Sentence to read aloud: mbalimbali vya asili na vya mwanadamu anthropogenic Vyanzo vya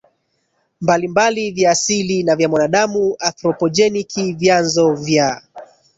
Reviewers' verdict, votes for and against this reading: rejected, 1, 2